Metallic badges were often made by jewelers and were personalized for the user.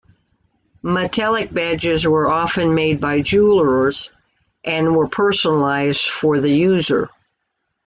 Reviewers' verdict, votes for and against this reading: accepted, 2, 0